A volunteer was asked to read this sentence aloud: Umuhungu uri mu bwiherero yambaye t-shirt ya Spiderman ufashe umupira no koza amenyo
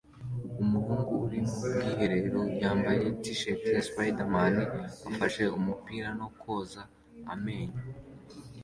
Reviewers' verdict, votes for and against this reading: accepted, 2, 1